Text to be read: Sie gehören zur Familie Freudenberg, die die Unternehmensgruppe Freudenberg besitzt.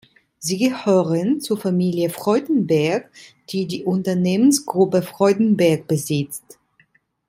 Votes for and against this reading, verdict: 2, 0, accepted